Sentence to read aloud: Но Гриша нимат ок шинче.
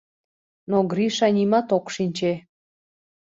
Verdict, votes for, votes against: accepted, 2, 0